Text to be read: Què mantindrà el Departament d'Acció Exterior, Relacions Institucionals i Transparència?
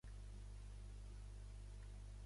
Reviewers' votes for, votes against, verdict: 0, 2, rejected